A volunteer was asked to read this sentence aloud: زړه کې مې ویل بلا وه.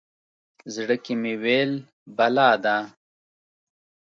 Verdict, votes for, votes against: rejected, 1, 2